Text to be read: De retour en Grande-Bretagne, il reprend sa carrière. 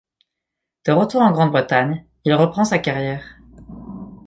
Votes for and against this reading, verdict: 2, 0, accepted